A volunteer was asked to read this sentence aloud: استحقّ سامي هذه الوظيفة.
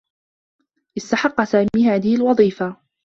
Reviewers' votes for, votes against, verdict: 2, 0, accepted